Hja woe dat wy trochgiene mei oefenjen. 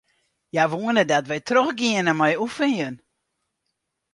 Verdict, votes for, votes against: rejected, 2, 4